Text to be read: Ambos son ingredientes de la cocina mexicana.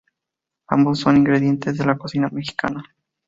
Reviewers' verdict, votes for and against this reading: accepted, 4, 0